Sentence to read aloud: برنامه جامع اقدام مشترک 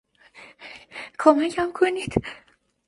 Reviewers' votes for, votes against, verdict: 0, 2, rejected